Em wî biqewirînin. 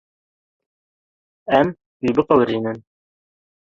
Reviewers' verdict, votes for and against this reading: rejected, 1, 2